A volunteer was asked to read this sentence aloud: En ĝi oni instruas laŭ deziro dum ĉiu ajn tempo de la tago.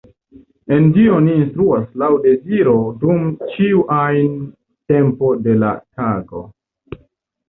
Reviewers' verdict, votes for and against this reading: rejected, 0, 2